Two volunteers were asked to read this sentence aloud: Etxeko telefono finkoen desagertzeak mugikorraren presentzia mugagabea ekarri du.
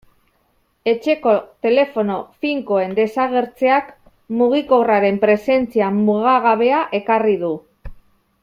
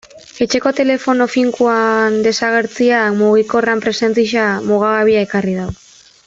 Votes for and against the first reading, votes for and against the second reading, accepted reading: 2, 0, 0, 3, first